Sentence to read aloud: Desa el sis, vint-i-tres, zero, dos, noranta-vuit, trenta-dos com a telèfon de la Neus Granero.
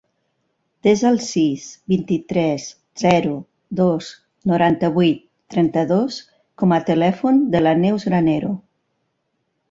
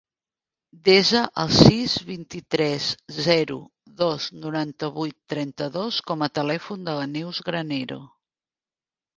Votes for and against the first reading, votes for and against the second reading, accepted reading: 3, 0, 0, 2, first